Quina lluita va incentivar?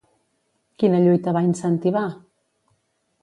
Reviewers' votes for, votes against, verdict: 2, 0, accepted